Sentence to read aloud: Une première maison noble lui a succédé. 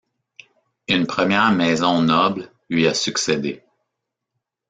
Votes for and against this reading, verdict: 2, 0, accepted